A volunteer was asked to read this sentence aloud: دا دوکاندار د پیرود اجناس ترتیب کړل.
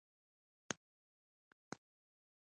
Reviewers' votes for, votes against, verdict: 1, 2, rejected